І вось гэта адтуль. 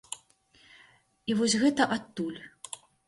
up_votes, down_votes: 2, 0